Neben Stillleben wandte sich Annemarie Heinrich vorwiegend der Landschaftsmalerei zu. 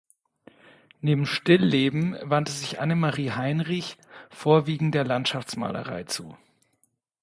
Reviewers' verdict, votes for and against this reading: accepted, 2, 0